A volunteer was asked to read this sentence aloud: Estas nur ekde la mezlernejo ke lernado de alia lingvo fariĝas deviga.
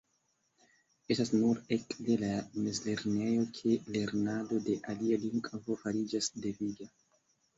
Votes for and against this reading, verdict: 1, 2, rejected